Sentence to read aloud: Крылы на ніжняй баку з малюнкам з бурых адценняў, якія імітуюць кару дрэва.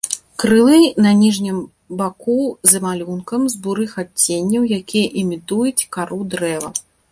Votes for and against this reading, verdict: 0, 2, rejected